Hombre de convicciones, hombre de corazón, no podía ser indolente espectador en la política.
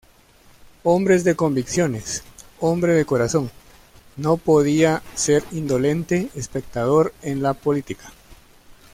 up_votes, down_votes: 0, 2